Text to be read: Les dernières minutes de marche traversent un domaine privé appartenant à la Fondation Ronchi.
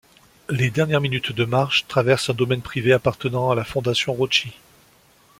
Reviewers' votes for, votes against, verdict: 2, 0, accepted